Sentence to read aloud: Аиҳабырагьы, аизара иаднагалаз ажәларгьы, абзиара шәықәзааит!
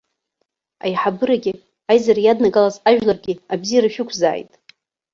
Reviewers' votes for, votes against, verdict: 0, 2, rejected